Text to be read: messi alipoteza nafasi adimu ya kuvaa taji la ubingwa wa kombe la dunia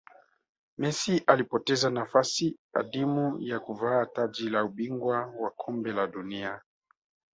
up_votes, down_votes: 2, 0